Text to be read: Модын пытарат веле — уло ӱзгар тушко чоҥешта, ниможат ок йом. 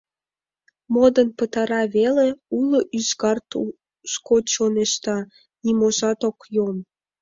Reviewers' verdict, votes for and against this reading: accepted, 2, 0